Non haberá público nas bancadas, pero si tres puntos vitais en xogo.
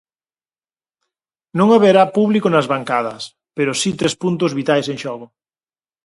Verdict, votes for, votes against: accepted, 4, 0